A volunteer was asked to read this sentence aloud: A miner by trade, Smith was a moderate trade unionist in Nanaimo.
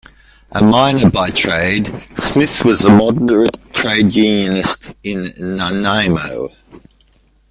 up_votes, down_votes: 1, 2